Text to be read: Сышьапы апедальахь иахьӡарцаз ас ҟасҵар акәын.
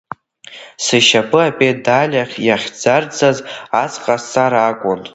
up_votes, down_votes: 0, 2